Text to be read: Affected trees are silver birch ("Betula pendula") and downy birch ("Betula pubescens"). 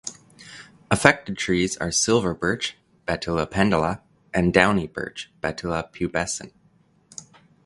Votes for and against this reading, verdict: 2, 0, accepted